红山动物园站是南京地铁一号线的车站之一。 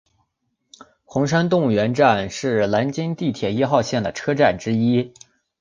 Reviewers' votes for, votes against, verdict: 3, 0, accepted